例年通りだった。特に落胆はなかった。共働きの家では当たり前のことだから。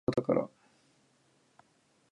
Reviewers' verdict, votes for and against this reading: rejected, 4, 15